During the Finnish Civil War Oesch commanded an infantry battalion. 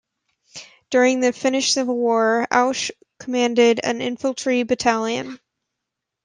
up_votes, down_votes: 0, 2